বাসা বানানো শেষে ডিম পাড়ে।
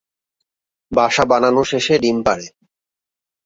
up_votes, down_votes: 2, 0